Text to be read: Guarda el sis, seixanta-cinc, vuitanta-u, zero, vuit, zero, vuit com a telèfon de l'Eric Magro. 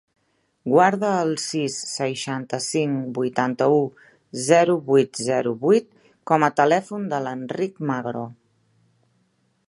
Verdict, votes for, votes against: rejected, 0, 2